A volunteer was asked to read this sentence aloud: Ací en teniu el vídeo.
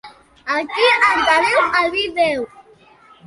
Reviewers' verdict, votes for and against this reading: rejected, 0, 2